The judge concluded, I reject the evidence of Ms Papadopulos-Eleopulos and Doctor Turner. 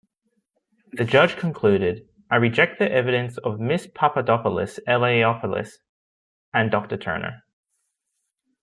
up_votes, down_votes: 0, 2